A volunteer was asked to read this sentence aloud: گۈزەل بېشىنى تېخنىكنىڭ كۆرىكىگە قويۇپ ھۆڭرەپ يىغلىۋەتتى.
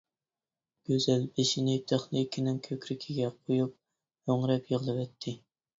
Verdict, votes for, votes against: rejected, 0, 2